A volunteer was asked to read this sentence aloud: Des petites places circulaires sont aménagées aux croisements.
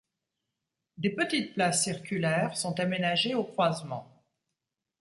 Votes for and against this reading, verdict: 2, 0, accepted